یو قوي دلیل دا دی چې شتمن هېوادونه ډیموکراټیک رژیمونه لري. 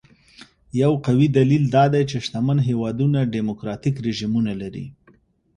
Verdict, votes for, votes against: accepted, 2, 0